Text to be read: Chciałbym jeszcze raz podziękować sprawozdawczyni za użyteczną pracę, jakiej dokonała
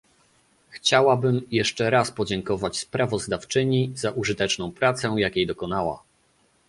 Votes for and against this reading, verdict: 1, 2, rejected